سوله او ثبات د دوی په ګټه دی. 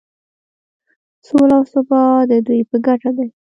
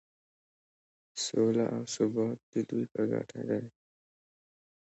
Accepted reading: second